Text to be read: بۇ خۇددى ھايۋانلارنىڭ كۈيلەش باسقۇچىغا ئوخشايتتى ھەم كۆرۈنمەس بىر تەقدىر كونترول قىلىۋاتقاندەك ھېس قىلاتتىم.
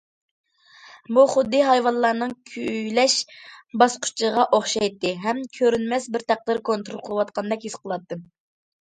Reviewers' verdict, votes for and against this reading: accepted, 2, 0